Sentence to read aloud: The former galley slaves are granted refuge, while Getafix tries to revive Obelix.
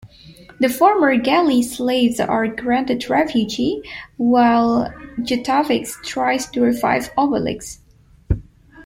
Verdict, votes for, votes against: rejected, 1, 2